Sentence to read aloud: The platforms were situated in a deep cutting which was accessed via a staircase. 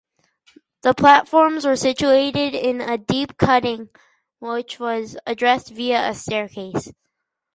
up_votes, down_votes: 0, 4